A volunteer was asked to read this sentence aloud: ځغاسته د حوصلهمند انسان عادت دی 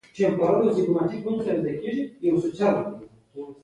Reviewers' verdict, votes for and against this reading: rejected, 0, 2